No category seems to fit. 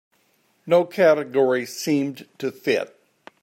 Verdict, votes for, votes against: rejected, 0, 2